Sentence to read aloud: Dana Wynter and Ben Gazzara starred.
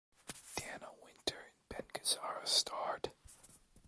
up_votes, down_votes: 1, 2